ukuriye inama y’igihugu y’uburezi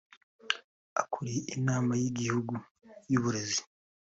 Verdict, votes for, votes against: rejected, 2, 3